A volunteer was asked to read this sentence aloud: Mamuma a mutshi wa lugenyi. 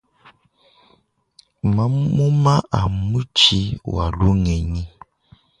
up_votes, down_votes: 2, 1